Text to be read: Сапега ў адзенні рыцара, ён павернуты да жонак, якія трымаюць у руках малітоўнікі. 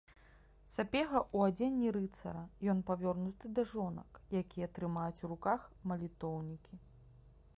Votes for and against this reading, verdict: 0, 2, rejected